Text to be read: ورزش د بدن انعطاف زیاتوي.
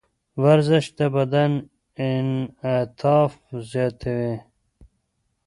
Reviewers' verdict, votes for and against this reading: accepted, 2, 0